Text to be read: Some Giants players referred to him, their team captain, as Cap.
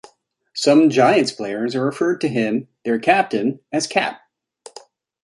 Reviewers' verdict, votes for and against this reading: rejected, 0, 2